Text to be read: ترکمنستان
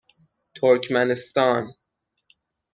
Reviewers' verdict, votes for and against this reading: rejected, 3, 6